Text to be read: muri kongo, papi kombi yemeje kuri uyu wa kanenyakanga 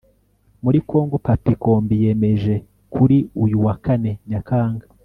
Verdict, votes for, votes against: accepted, 2, 0